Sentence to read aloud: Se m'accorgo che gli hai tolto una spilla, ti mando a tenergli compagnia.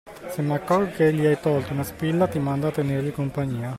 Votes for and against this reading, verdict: 2, 0, accepted